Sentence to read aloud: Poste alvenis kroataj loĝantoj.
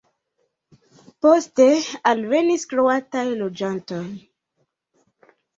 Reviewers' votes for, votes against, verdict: 2, 0, accepted